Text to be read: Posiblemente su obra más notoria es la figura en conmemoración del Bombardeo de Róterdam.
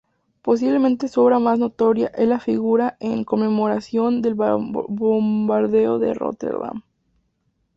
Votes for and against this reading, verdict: 2, 2, rejected